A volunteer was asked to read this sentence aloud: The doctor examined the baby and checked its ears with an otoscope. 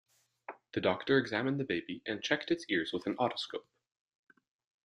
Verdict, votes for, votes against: accepted, 3, 0